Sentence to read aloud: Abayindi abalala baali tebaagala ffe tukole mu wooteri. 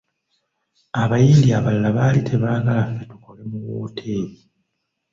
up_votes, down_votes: 1, 2